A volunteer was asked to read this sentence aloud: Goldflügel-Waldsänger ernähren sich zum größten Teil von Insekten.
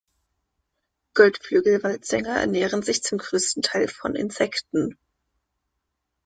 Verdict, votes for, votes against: accepted, 2, 0